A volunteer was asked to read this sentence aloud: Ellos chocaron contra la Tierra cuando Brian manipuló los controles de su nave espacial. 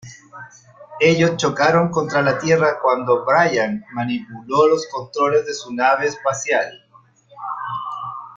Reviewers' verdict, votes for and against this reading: accepted, 2, 0